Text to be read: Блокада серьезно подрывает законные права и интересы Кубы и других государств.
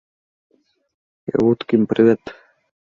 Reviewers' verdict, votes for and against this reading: rejected, 0, 2